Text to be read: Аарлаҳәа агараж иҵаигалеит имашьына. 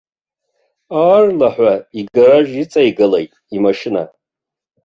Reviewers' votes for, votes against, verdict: 0, 2, rejected